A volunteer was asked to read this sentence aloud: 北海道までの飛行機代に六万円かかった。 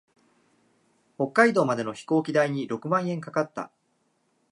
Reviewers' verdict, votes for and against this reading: accepted, 2, 0